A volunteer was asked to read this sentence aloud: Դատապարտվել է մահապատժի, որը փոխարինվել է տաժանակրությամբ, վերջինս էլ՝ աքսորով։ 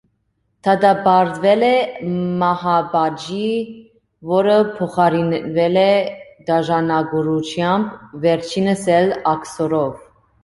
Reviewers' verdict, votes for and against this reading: rejected, 1, 2